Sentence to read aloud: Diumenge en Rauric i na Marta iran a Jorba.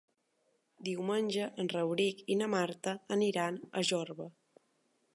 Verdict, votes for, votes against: rejected, 0, 2